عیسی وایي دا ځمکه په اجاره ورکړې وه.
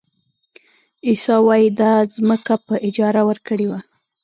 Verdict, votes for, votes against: rejected, 0, 2